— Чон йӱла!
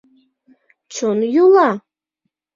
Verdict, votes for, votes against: accepted, 2, 0